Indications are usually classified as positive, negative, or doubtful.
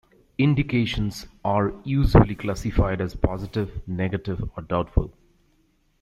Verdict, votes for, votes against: accepted, 2, 0